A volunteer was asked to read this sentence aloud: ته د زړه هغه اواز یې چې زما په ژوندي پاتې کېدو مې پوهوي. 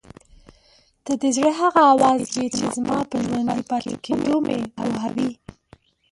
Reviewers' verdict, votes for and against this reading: rejected, 0, 2